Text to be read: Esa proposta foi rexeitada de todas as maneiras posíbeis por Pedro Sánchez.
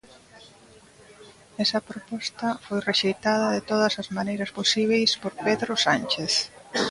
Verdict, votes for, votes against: accepted, 2, 0